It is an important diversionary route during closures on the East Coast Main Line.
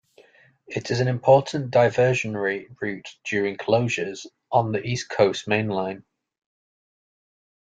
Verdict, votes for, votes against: accepted, 2, 0